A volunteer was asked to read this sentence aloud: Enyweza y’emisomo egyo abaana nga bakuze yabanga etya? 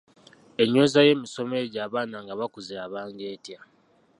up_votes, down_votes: 2, 0